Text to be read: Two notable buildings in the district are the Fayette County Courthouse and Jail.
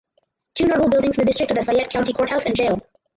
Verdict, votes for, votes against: rejected, 0, 4